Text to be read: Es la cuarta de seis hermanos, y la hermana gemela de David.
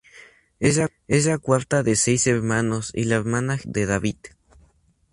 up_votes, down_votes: 0, 4